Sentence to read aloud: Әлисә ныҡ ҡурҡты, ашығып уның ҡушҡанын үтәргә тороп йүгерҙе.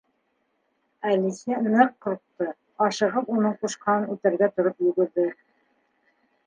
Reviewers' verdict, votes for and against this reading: rejected, 1, 2